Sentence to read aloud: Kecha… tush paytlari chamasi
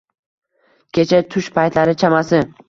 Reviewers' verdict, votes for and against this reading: accepted, 2, 0